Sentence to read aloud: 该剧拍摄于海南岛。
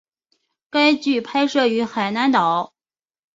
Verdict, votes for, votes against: accepted, 2, 0